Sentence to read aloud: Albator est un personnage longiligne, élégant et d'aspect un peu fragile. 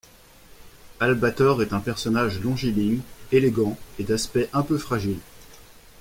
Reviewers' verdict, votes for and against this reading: accepted, 2, 0